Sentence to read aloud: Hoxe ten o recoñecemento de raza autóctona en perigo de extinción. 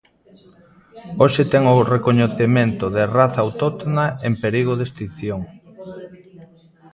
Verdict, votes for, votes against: rejected, 1, 2